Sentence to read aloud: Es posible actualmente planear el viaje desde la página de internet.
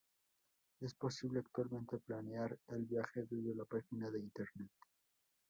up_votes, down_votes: 2, 0